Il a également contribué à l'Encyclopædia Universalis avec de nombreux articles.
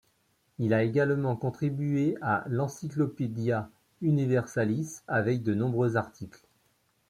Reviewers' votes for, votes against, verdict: 2, 1, accepted